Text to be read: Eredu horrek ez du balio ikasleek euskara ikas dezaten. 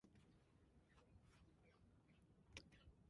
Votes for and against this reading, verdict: 0, 3, rejected